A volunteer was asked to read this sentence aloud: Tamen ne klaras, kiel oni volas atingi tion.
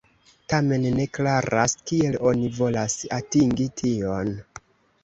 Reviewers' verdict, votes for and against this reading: accepted, 3, 1